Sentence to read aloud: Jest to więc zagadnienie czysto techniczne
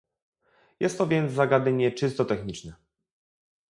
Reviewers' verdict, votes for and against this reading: rejected, 0, 2